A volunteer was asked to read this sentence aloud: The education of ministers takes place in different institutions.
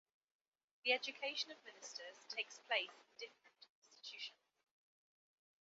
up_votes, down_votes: 1, 2